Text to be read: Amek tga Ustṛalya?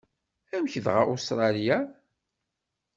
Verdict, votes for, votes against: rejected, 1, 2